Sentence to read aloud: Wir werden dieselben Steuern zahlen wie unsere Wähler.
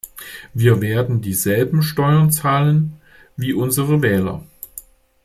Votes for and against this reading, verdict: 2, 0, accepted